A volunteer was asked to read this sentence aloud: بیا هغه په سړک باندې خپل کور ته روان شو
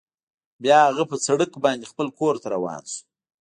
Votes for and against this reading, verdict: 2, 0, accepted